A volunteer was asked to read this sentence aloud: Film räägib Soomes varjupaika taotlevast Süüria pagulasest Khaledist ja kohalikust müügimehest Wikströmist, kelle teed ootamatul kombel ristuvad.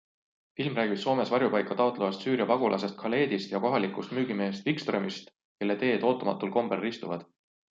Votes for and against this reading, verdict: 2, 0, accepted